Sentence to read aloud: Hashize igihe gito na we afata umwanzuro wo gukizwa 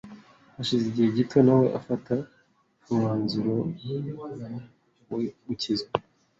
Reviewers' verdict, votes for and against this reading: rejected, 1, 2